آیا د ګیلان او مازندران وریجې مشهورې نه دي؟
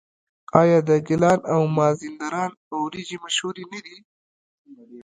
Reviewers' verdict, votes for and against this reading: rejected, 0, 2